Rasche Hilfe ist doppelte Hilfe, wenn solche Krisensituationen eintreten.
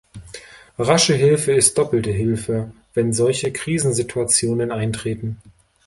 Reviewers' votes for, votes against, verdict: 2, 0, accepted